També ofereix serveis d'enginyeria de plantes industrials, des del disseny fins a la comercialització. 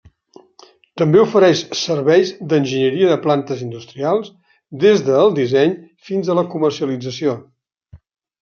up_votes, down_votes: 3, 0